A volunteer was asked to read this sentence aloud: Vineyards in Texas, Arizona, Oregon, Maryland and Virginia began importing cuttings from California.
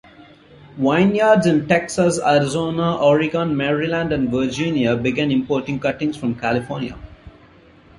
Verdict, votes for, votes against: rejected, 1, 2